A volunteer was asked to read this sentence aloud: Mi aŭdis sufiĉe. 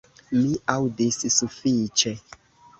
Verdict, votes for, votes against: accepted, 2, 0